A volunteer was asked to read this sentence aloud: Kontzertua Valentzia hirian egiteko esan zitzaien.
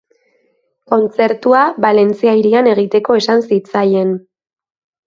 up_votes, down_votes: 2, 0